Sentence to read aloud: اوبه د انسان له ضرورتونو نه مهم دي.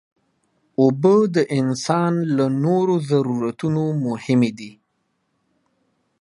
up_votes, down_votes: 0, 2